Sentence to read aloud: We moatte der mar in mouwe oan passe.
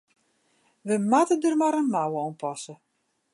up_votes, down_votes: 3, 0